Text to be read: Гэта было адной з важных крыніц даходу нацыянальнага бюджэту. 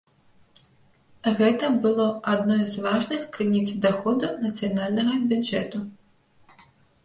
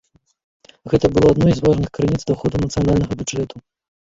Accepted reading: first